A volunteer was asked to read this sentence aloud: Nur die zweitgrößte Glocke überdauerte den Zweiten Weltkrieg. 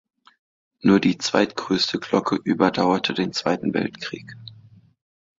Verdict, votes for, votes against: accepted, 2, 0